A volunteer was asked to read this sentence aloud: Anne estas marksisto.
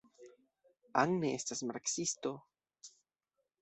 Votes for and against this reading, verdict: 2, 0, accepted